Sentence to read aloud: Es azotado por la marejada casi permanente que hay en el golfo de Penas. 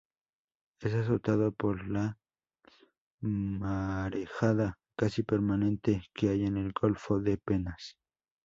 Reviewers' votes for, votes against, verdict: 2, 0, accepted